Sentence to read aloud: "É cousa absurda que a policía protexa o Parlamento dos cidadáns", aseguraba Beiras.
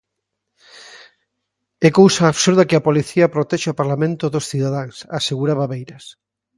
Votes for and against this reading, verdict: 2, 0, accepted